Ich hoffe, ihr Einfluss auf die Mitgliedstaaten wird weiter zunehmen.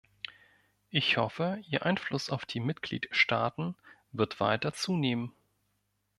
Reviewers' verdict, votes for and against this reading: accepted, 2, 0